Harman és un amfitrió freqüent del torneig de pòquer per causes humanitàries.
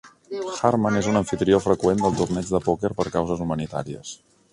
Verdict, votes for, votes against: rejected, 1, 2